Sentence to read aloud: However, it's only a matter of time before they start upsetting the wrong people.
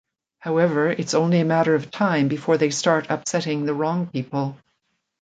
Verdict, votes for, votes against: accepted, 2, 0